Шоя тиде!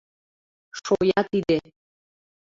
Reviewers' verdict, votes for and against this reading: accepted, 2, 0